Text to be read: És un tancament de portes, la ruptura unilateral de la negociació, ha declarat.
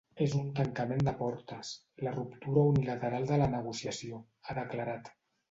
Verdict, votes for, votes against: accepted, 2, 0